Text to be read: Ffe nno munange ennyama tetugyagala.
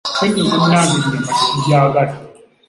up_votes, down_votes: 0, 2